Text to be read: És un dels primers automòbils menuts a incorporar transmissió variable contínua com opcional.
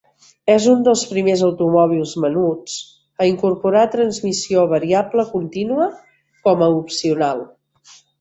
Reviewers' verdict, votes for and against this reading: rejected, 0, 2